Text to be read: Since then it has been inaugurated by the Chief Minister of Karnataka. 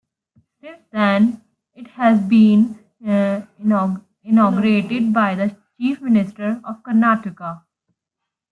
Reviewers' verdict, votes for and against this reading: rejected, 0, 2